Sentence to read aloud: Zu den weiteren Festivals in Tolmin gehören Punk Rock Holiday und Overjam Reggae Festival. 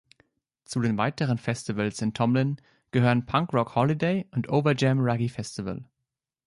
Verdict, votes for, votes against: rejected, 1, 3